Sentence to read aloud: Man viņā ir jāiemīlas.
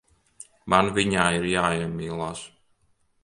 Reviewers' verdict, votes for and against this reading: rejected, 1, 3